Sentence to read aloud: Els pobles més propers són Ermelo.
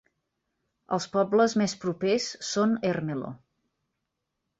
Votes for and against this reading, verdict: 1, 2, rejected